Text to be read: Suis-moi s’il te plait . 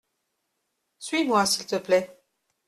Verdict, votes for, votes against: accepted, 2, 0